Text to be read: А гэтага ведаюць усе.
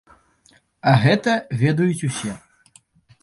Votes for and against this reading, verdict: 0, 2, rejected